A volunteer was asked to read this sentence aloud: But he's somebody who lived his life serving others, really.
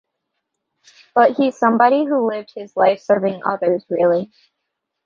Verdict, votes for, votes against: accepted, 2, 0